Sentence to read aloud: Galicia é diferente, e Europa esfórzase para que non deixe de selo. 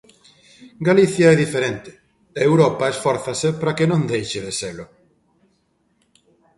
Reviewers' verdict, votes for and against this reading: accepted, 2, 0